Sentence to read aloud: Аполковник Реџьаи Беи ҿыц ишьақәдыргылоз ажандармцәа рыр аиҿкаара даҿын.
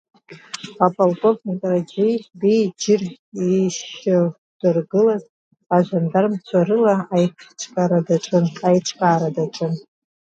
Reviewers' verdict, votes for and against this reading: rejected, 0, 2